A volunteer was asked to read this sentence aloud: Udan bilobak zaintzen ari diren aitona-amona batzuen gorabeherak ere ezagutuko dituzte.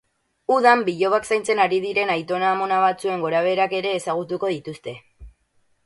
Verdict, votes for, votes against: accepted, 8, 0